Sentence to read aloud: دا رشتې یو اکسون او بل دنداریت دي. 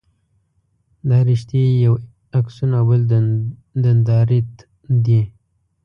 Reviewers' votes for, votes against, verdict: 0, 2, rejected